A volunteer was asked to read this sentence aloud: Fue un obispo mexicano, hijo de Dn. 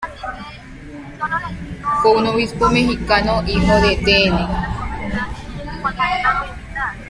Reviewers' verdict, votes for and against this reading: rejected, 1, 2